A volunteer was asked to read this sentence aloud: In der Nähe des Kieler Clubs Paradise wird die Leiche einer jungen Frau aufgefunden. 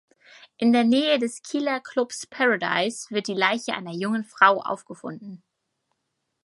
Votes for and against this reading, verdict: 4, 0, accepted